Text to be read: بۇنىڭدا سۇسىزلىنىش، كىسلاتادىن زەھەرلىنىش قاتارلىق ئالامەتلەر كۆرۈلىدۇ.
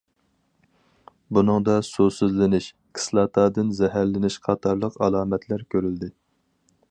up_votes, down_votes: 0, 4